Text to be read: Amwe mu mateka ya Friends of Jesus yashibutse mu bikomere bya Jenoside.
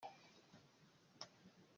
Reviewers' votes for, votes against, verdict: 0, 2, rejected